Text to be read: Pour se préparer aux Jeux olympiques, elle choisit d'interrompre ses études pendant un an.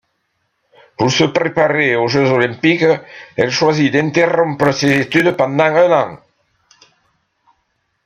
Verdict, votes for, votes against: accepted, 2, 0